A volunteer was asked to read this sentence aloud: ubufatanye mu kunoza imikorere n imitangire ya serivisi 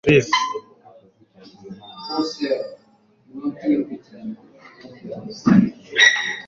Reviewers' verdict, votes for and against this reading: rejected, 0, 2